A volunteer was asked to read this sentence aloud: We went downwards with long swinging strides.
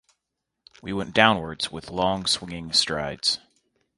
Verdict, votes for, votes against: accepted, 2, 0